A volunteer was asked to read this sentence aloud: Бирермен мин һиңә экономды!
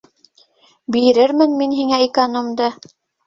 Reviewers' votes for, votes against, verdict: 2, 0, accepted